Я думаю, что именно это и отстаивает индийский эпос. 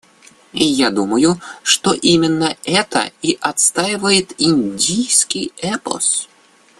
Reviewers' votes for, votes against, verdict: 2, 0, accepted